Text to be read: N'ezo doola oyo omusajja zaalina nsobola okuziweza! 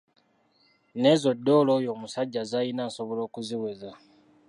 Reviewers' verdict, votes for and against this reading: rejected, 0, 2